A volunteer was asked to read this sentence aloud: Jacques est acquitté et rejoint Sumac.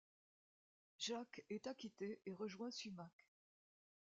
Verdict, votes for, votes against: accepted, 2, 0